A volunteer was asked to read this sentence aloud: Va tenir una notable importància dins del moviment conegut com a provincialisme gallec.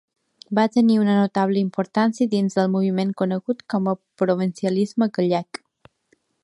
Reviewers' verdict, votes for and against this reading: accepted, 2, 0